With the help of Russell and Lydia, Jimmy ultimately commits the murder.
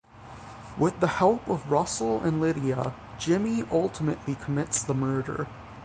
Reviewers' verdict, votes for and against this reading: rejected, 3, 6